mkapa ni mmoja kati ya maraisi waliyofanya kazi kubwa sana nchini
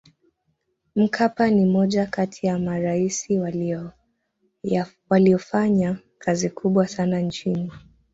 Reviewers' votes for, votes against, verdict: 0, 2, rejected